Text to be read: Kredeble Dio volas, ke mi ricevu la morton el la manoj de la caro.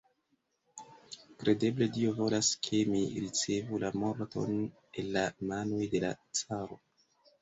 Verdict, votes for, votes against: rejected, 1, 2